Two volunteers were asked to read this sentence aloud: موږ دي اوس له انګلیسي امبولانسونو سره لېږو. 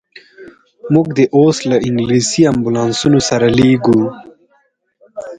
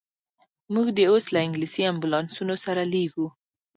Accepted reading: first